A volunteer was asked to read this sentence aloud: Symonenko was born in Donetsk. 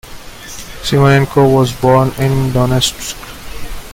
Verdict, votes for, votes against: rejected, 0, 2